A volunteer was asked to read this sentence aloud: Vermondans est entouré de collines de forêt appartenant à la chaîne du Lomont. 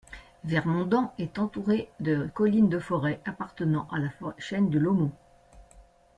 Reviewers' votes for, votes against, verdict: 0, 2, rejected